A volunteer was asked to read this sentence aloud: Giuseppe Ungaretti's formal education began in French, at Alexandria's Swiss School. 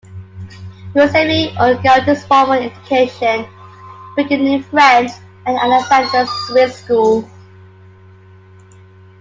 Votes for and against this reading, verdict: 2, 1, accepted